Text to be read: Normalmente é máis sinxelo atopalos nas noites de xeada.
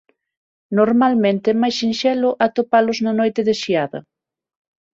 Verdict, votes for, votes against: rejected, 3, 6